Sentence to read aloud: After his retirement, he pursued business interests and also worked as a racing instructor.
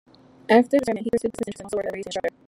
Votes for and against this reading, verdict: 0, 2, rejected